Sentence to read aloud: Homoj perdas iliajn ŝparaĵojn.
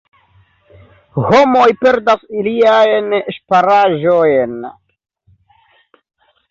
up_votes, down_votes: 2, 1